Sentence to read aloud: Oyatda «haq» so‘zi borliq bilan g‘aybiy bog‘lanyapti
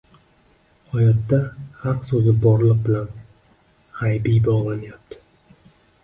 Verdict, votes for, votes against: accepted, 2, 1